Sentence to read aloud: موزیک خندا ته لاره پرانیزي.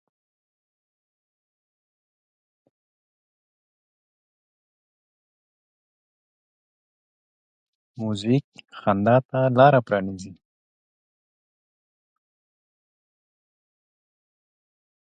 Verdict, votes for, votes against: rejected, 0, 2